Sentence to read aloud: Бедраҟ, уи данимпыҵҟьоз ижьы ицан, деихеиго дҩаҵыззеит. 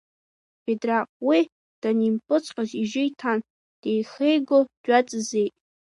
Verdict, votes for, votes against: rejected, 0, 2